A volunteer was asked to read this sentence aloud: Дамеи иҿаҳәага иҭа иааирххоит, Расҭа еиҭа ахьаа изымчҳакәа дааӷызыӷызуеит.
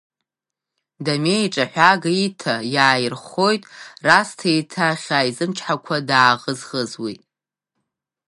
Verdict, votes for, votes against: rejected, 0, 2